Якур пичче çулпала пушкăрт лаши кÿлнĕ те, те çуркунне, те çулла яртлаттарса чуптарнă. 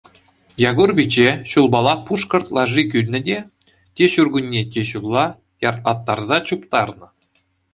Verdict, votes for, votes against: accepted, 2, 0